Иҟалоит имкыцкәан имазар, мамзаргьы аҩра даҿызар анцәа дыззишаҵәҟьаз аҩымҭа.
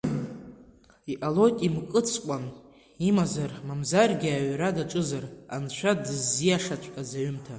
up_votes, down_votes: 1, 2